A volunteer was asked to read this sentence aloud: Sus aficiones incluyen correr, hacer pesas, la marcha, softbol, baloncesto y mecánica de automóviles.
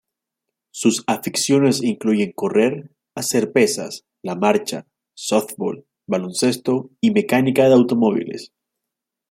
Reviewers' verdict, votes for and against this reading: accepted, 2, 1